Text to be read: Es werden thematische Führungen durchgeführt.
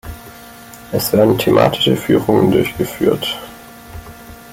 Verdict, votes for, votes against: accepted, 2, 1